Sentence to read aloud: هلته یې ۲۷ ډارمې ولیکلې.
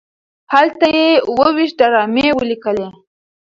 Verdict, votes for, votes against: rejected, 0, 2